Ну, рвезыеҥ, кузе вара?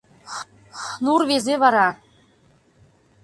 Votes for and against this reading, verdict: 0, 2, rejected